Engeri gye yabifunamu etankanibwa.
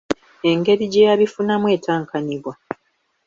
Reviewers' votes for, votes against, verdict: 2, 0, accepted